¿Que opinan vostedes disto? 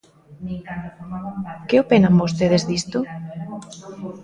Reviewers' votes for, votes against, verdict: 1, 2, rejected